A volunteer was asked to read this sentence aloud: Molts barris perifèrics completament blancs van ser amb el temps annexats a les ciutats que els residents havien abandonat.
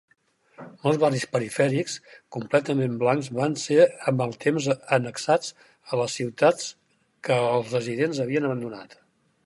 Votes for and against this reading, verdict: 2, 4, rejected